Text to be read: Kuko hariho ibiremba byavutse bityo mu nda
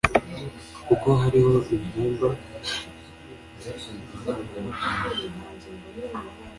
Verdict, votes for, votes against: rejected, 1, 2